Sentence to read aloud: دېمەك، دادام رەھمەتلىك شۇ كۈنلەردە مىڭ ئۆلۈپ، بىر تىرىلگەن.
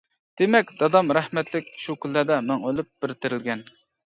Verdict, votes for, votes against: accepted, 2, 0